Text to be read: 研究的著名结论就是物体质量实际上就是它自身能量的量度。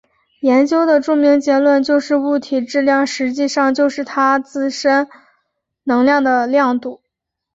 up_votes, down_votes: 3, 0